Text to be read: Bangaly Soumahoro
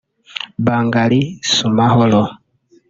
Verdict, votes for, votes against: rejected, 0, 2